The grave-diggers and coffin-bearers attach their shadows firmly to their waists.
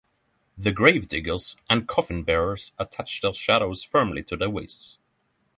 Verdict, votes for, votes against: rejected, 3, 3